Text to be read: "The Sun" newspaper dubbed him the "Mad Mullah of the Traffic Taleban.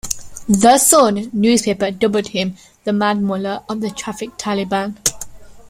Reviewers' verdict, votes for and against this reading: accepted, 2, 1